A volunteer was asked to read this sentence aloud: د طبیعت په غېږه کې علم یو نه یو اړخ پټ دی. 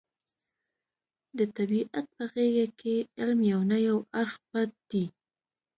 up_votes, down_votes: 1, 2